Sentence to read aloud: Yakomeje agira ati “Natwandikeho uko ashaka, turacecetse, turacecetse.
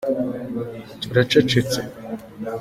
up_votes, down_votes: 0, 2